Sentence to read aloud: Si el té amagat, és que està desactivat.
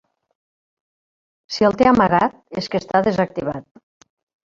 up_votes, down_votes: 1, 2